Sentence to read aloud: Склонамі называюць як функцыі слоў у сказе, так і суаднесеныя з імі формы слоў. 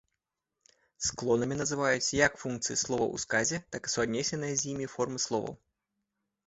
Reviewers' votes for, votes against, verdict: 0, 2, rejected